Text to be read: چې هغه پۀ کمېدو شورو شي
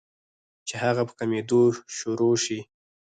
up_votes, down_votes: 2, 4